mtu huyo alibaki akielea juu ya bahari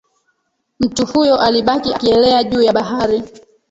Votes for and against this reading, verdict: 0, 2, rejected